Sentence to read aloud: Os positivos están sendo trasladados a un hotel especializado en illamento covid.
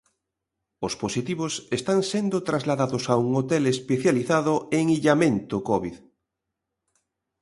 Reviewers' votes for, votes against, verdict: 2, 0, accepted